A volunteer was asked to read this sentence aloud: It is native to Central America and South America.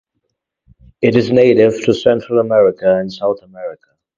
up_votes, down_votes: 2, 0